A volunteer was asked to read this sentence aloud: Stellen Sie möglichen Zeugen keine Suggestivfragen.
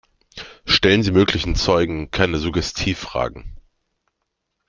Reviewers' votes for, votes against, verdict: 2, 0, accepted